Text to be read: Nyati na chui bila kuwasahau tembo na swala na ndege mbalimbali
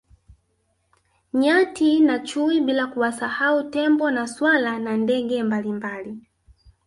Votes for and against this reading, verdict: 2, 1, accepted